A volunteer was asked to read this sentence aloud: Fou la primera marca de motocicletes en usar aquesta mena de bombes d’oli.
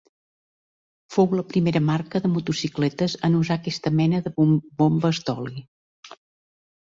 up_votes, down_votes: 0, 2